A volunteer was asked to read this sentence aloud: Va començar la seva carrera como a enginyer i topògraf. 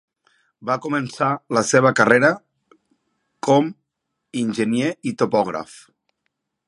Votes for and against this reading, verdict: 0, 2, rejected